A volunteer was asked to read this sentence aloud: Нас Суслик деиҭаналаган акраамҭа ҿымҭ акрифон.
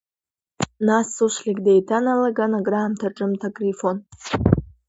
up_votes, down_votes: 2, 1